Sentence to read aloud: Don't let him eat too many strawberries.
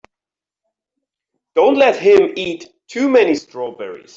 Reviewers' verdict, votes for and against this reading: accepted, 2, 0